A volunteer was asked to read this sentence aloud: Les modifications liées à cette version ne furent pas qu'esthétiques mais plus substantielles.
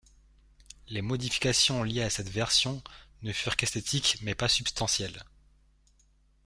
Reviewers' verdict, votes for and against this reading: rejected, 0, 2